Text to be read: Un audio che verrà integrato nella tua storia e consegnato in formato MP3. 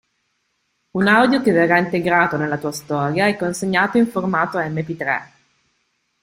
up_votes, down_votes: 0, 2